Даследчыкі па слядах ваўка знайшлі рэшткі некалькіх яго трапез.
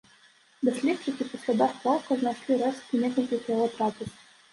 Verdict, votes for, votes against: rejected, 1, 2